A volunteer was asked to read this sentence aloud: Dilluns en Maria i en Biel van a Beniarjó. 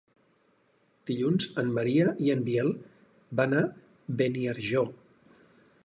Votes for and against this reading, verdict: 4, 0, accepted